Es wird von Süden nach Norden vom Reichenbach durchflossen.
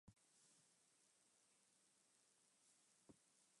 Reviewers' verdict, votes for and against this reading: rejected, 0, 2